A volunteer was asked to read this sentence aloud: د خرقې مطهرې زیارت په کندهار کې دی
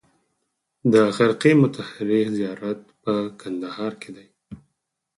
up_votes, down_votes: 4, 2